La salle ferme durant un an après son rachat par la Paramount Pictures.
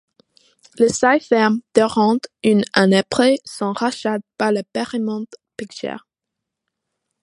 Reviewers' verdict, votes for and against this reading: rejected, 1, 2